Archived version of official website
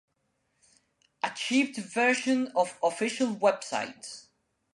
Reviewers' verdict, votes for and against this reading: rejected, 0, 2